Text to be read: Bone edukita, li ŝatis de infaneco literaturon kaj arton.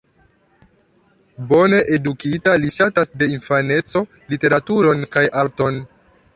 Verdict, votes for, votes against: rejected, 0, 2